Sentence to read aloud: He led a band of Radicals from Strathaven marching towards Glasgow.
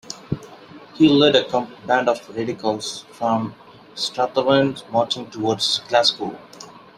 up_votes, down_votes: 1, 2